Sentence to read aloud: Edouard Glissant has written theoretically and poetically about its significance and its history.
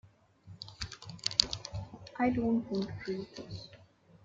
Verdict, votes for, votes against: rejected, 0, 2